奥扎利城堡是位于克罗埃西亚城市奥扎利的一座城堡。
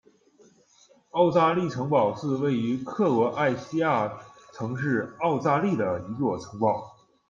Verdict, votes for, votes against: accepted, 2, 0